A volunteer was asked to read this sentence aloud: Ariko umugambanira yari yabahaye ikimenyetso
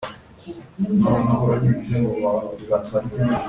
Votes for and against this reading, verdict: 0, 2, rejected